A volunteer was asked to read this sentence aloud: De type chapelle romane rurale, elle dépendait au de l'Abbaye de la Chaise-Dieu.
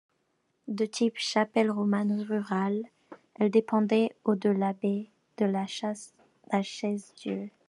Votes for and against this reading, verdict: 0, 2, rejected